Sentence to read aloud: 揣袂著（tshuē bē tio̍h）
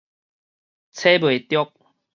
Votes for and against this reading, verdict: 2, 2, rejected